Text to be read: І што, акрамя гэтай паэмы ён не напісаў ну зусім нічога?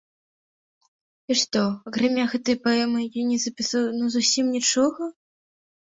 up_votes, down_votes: 0, 2